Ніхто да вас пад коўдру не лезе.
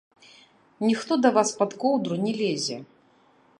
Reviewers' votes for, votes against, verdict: 0, 2, rejected